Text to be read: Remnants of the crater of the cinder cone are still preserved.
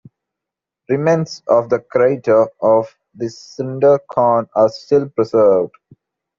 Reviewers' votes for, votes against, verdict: 2, 1, accepted